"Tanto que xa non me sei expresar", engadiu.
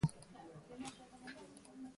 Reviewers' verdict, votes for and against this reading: rejected, 0, 2